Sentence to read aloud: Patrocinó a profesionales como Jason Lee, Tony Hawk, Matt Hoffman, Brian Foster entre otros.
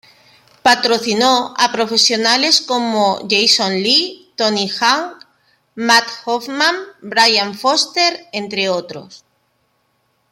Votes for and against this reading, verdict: 1, 2, rejected